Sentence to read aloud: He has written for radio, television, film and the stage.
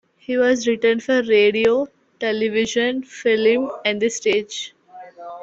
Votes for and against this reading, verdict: 0, 2, rejected